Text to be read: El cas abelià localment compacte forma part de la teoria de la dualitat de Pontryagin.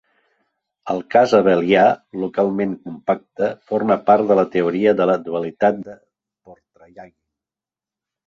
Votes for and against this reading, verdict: 2, 3, rejected